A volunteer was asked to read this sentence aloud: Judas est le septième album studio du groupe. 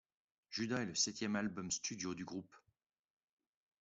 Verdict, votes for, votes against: accepted, 2, 0